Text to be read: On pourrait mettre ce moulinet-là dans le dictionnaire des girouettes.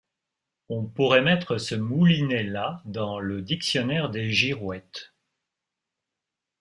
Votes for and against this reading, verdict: 2, 0, accepted